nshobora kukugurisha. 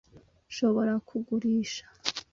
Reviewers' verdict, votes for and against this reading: rejected, 1, 2